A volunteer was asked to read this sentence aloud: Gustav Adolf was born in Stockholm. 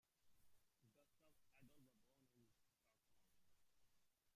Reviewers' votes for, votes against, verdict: 0, 2, rejected